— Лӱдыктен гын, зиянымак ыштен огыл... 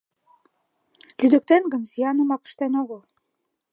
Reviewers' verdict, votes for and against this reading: accepted, 2, 1